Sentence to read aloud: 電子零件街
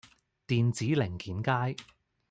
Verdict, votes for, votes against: accepted, 2, 0